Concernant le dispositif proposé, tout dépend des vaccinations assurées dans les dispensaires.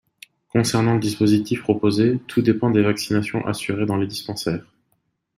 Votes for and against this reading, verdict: 2, 0, accepted